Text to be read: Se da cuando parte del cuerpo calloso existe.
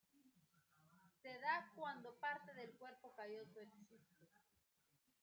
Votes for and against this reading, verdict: 1, 2, rejected